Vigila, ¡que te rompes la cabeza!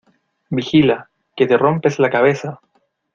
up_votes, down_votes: 2, 0